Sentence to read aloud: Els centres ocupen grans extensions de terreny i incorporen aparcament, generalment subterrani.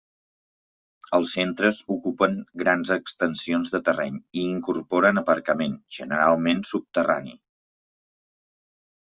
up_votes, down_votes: 3, 0